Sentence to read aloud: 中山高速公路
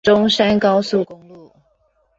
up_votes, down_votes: 1, 2